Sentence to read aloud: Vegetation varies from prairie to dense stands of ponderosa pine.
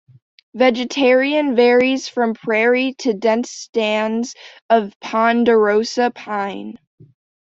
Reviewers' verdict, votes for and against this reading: rejected, 0, 2